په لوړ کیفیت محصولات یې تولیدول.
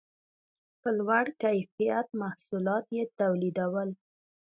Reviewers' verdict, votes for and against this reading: rejected, 0, 2